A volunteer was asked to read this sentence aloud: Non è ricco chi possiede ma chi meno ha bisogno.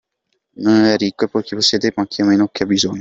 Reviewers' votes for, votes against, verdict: 0, 2, rejected